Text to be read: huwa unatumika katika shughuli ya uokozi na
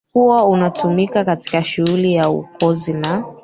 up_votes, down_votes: 2, 1